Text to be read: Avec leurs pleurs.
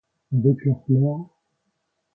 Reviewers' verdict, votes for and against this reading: rejected, 0, 2